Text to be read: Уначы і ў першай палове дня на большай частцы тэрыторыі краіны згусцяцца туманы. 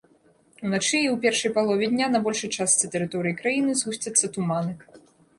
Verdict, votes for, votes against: rejected, 0, 2